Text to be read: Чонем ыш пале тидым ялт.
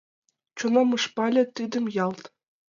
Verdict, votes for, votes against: rejected, 0, 2